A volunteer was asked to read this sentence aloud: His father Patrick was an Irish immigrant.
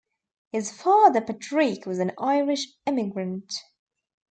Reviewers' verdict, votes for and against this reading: rejected, 0, 2